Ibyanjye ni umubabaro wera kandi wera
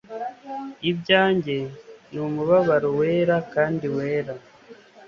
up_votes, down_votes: 2, 0